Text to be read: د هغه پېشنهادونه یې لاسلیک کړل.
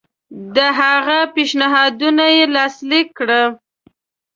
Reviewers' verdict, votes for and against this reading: accepted, 2, 0